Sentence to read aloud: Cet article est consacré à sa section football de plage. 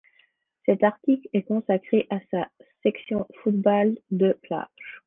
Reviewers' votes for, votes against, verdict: 1, 2, rejected